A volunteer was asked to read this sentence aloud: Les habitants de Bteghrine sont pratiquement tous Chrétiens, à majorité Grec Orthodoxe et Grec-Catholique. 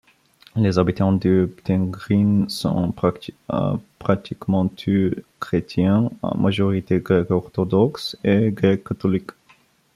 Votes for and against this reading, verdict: 0, 2, rejected